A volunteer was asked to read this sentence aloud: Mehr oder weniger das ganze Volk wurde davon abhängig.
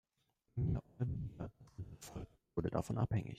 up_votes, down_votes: 0, 2